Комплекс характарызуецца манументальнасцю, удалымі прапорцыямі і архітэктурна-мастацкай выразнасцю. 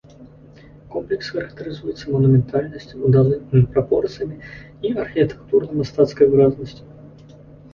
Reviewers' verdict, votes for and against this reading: rejected, 0, 2